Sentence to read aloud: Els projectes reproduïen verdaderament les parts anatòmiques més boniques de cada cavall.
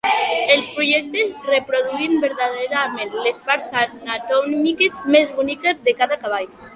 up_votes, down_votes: 2, 3